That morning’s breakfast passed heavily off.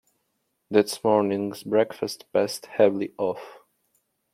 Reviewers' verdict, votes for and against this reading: rejected, 0, 2